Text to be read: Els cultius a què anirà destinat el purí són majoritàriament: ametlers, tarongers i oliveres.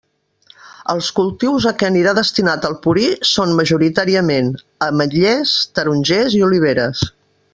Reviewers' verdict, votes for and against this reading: rejected, 0, 2